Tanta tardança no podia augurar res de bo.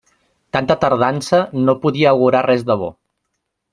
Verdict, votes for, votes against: accepted, 2, 1